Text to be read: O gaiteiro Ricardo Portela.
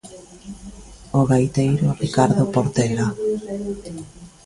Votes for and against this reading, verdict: 1, 2, rejected